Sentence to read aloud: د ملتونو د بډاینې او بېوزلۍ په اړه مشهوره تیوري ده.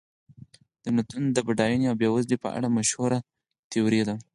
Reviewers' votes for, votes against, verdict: 4, 2, accepted